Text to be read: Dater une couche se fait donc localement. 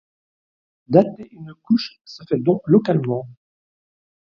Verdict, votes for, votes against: rejected, 0, 2